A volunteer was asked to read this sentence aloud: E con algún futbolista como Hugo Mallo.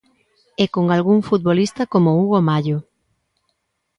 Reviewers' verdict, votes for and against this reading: accepted, 2, 0